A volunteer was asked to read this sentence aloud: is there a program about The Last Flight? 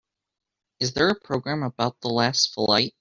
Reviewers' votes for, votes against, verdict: 2, 1, accepted